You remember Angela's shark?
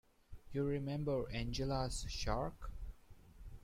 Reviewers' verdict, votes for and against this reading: accepted, 2, 0